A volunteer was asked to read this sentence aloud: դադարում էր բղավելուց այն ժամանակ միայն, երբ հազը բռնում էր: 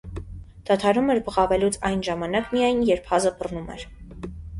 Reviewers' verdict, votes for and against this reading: accepted, 2, 0